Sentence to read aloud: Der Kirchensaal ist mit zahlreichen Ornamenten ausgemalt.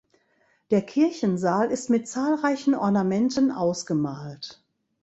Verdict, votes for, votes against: accepted, 2, 0